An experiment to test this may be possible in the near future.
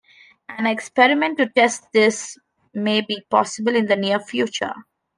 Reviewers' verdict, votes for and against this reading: accepted, 2, 1